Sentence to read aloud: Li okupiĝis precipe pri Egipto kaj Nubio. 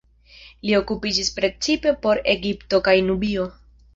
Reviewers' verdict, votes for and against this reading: rejected, 1, 2